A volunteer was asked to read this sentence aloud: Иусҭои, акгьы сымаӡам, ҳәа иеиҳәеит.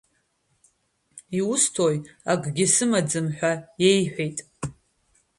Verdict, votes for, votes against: accepted, 2, 1